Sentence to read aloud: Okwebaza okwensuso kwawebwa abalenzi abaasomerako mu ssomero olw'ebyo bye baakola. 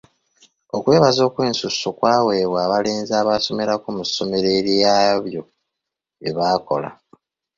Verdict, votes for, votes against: rejected, 2, 3